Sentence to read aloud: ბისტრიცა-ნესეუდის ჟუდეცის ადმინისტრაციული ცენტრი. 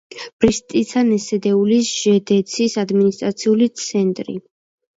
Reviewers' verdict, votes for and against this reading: rejected, 0, 2